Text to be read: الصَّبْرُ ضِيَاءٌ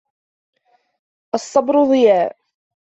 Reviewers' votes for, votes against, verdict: 2, 0, accepted